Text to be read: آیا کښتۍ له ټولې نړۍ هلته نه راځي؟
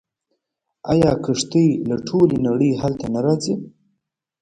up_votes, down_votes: 2, 1